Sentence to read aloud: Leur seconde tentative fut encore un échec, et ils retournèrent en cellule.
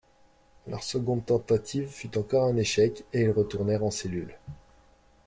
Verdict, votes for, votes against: accepted, 2, 0